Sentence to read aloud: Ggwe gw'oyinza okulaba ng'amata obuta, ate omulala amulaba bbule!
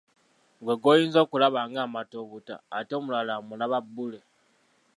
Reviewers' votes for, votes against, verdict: 2, 1, accepted